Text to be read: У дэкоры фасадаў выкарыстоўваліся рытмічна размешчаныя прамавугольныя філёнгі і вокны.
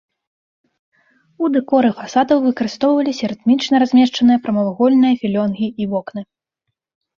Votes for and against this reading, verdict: 2, 0, accepted